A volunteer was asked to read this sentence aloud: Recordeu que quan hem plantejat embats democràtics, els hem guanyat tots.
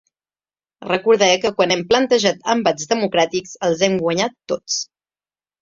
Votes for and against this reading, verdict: 0, 2, rejected